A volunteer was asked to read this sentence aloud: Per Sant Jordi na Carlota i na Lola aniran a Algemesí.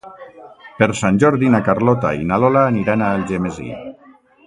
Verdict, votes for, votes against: accepted, 2, 0